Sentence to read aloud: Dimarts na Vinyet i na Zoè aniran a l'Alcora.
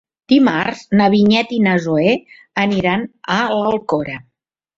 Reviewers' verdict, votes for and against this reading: accepted, 3, 0